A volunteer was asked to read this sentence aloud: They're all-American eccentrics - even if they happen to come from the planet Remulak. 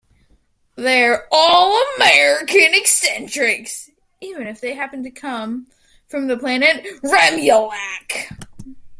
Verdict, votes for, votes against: rejected, 2, 3